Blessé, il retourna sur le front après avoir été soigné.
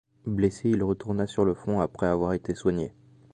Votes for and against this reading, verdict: 2, 0, accepted